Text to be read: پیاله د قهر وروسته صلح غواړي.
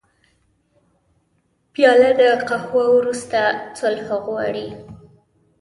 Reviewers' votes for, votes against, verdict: 1, 2, rejected